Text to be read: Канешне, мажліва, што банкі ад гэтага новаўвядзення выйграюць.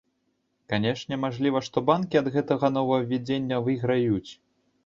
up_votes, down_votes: 0, 2